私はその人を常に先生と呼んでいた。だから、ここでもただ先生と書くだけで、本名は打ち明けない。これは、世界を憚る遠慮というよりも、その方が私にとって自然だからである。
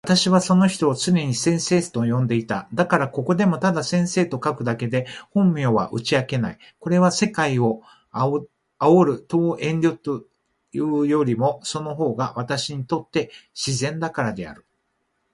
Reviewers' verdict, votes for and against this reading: rejected, 0, 2